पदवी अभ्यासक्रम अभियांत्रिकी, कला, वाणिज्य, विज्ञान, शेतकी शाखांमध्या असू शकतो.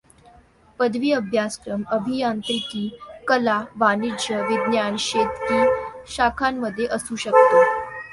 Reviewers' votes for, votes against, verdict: 2, 0, accepted